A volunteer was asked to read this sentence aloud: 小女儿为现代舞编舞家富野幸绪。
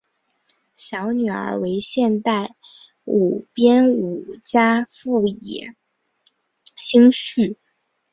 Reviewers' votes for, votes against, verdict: 3, 0, accepted